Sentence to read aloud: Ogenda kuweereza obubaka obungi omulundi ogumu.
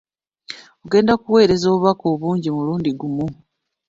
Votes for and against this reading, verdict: 0, 2, rejected